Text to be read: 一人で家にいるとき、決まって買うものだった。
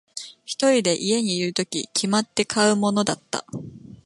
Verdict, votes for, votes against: accepted, 2, 0